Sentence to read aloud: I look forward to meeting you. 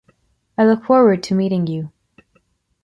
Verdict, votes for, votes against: accepted, 2, 0